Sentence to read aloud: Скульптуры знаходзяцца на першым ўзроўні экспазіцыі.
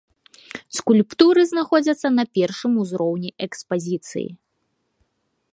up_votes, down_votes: 2, 0